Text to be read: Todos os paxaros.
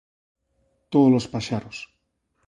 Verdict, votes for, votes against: accepted, 2, 1